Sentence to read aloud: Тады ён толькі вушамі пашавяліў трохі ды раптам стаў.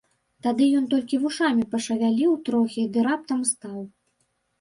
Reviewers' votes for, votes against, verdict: 2, 0, accepted